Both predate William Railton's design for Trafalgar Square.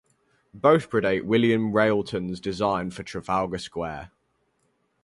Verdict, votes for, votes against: rejected, 2, 2